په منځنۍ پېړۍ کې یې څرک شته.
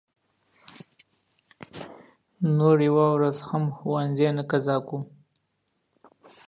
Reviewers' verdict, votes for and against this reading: rejected, 0, 2